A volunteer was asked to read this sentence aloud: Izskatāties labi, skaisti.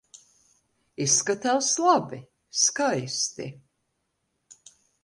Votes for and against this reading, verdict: 1, 2, rejected